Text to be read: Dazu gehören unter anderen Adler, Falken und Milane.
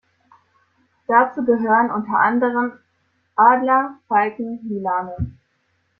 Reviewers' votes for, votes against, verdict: 1, 2, rejected